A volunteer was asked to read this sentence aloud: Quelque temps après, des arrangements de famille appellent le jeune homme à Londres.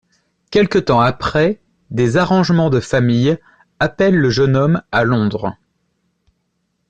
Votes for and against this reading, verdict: 2, 0, accepted